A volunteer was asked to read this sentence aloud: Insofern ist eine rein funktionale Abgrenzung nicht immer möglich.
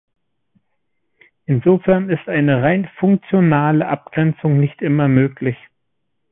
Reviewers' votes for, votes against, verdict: 2, 0, accepted